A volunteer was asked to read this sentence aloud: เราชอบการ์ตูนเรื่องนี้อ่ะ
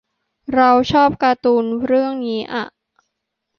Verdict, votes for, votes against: accepted, 2, 0